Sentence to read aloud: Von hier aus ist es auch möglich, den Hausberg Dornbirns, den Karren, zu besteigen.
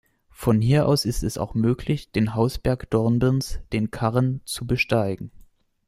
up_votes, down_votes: 2, 0